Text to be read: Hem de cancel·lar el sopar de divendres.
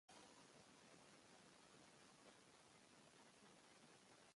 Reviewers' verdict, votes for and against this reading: rejected, 1, 2